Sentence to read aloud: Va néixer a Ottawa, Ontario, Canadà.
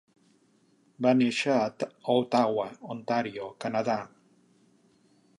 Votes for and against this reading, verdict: 1, 3, rejected